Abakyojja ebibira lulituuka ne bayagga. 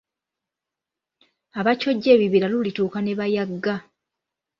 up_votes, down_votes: 2, 0